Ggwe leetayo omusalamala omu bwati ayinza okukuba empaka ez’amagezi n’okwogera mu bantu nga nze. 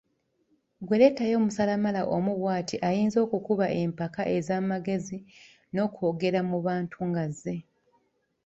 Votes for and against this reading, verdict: 1, 2, rejected